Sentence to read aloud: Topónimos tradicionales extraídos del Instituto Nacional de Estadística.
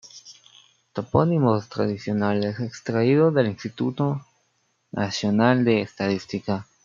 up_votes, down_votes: 3, 2